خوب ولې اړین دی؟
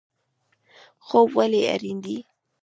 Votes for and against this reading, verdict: 2, 0, accepted